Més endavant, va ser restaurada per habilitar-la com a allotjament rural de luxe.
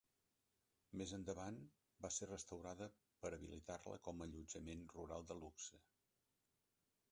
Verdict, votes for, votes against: accepted, 3, 0